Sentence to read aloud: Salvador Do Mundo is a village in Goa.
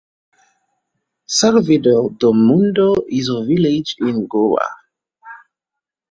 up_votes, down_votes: 2, 0